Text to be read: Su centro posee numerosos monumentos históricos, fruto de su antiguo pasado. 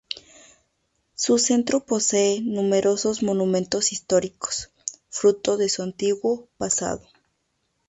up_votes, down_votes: 2, 0